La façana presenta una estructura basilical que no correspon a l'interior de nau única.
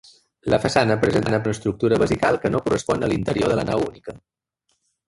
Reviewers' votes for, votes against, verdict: 1, 2, rejected